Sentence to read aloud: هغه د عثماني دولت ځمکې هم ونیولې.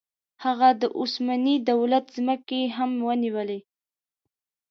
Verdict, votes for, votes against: accepted, 2, 0